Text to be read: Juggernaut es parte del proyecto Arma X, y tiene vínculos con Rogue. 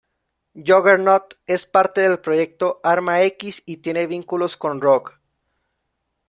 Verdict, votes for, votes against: accepted, 2, 0